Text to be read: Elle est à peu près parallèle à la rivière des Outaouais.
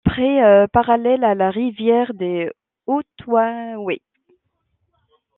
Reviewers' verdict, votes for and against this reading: rejected, 0, 2